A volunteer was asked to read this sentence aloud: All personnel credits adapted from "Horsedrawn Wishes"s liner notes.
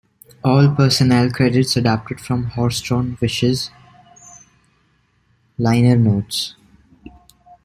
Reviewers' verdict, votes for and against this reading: accepted, 2, 1